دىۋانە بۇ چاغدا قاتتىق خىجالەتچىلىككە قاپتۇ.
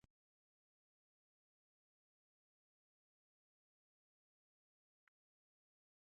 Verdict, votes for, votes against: rejected, 0, 2